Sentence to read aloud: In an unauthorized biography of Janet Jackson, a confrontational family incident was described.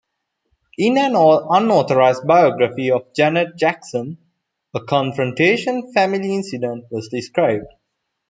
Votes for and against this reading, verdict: 0, 2, rejected